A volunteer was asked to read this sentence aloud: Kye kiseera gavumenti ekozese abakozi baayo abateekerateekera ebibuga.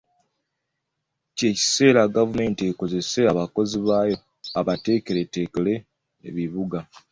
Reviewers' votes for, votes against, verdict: 0, 2, rejected